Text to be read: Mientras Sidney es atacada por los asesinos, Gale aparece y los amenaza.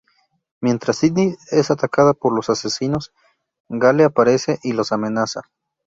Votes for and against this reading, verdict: 0, 2, rejected